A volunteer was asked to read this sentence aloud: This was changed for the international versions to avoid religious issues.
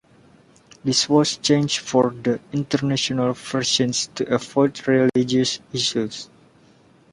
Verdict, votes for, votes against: rejected, 1, 2